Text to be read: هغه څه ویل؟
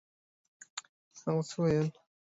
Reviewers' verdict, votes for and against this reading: accepted, 2, 0